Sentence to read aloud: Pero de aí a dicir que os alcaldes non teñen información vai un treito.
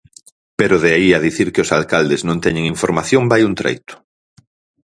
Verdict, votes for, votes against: accepted, 4, 0